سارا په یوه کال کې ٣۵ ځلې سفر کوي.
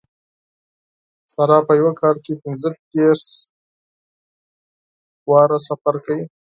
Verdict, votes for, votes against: rejected, 0, 2